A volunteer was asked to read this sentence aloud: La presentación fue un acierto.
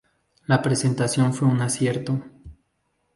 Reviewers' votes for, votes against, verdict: 4, 0, accepted